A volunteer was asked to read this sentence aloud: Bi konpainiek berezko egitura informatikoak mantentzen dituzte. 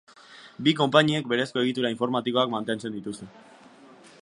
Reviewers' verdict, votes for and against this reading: accepted, 2, 0